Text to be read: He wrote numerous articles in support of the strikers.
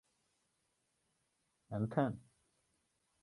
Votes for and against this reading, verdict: 0, 2, rejected